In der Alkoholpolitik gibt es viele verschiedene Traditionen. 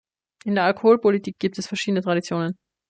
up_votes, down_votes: 1, 2